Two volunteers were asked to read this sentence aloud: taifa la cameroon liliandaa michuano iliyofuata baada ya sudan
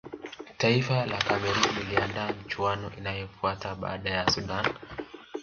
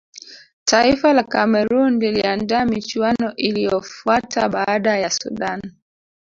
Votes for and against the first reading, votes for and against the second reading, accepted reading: 2, 0, 1, 2, first